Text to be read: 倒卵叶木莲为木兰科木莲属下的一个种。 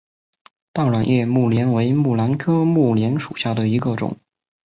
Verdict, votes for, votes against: accepted, 2, 0